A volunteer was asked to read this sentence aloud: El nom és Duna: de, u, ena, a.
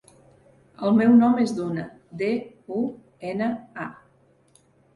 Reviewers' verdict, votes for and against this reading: rejected, 1, 2